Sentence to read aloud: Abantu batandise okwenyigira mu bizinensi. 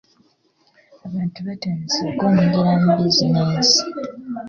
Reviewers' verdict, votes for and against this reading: accepted, 3, 1